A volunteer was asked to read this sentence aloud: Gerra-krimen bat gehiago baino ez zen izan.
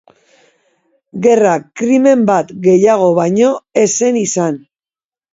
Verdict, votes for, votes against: rejected, 1, 2